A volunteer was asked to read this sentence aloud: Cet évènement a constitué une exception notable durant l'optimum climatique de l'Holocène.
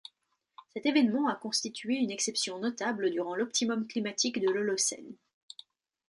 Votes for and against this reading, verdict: 2, 0, accepted